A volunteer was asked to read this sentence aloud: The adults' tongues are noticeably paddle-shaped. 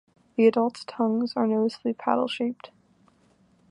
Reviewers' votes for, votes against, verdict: 2, 1, accepted